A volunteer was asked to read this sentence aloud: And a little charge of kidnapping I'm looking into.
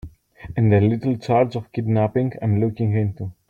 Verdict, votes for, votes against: accepted, 2, 0